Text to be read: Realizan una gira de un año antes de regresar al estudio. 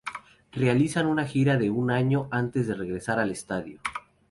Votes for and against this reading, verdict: 2, 0, accepted